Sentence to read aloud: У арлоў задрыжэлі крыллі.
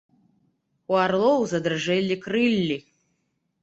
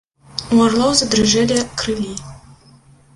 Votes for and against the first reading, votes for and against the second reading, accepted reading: 2, 0, 1, 2, first